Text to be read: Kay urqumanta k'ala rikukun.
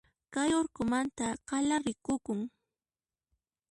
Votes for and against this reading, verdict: 1, 2, rejected